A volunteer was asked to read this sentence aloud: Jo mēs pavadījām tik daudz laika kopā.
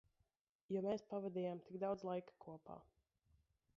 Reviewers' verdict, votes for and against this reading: rejected, 1, 2